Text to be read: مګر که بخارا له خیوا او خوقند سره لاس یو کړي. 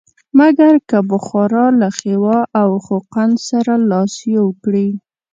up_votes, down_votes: 2, 0